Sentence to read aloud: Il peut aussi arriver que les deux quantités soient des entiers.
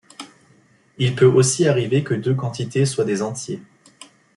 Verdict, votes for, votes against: rejected, 0, 2